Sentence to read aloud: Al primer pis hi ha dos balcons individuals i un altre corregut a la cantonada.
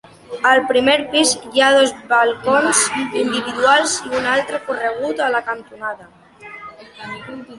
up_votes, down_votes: 2, 0